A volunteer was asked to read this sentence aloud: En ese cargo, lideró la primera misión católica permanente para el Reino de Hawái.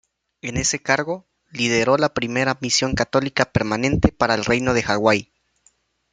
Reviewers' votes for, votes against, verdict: 0, 2, rejected